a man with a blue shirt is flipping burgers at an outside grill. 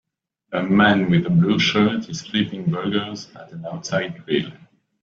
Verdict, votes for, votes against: accepted, 2, 0